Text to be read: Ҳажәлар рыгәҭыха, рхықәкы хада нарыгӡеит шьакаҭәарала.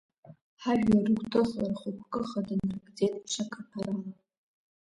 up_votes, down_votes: 1, 2